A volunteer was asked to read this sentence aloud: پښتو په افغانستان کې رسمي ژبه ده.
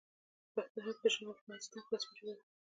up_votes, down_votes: 0, 2